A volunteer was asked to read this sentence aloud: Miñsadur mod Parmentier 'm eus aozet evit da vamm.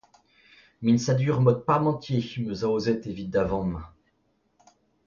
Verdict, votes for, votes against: accepted, 2, 0